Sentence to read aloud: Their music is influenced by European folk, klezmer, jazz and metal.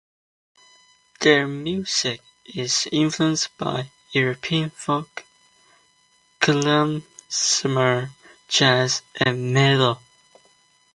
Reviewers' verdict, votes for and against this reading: rejected, 1, 2